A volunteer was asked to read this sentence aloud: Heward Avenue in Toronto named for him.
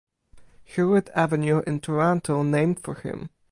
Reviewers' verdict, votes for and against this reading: accepted, 4, 0